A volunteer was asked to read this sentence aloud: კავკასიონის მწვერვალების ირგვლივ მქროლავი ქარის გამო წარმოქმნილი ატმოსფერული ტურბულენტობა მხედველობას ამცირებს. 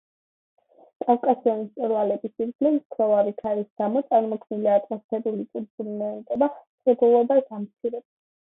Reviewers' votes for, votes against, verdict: 0, 2, rejected